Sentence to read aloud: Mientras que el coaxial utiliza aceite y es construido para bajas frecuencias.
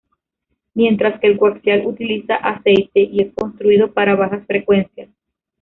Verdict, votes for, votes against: rejected, 1, 2